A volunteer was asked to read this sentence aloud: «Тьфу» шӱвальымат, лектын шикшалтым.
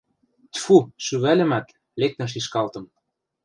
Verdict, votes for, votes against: rejected, 0, 2